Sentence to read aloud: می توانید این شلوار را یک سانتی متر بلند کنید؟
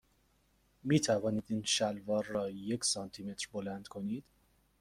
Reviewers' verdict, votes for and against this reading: accepted, 2, 0